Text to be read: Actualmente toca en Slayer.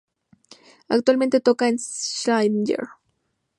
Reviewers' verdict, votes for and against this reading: rejected, 0, 2